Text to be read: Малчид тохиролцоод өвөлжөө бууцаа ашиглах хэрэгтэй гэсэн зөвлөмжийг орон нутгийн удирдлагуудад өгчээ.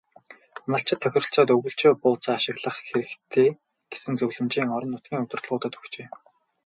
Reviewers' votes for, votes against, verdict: 6, 0, accepted